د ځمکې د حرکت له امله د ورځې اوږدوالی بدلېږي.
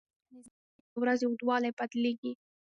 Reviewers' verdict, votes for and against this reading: rejected, 1, 2